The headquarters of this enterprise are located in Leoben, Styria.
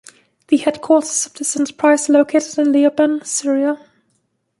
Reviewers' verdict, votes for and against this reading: rejected, 1, 2